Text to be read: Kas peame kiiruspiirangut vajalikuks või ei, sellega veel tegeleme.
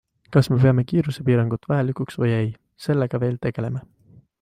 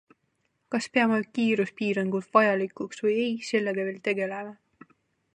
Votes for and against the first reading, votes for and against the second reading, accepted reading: 0, 2, 2, 0, second